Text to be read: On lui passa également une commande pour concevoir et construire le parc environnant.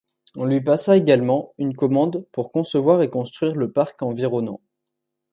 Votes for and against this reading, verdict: 2, 0, accepted